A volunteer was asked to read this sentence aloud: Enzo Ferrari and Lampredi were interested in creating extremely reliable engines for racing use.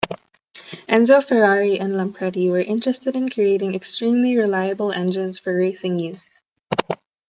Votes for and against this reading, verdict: 2, 0, accepted